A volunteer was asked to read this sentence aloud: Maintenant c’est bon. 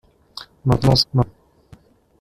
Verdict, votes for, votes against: rejected, 0, 2